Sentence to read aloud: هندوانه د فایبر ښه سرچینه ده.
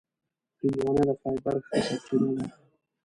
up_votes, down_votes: 1, 2